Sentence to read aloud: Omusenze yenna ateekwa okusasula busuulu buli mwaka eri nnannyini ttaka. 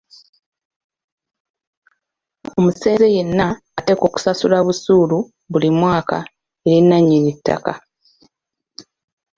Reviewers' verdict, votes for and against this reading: accepted, 2, 0